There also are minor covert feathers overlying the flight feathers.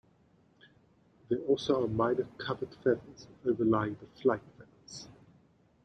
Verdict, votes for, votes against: rejected, 1, 2